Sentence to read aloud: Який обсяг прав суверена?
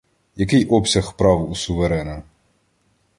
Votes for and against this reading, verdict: 1, 2, rejected